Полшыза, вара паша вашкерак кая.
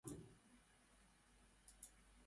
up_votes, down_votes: 0, 2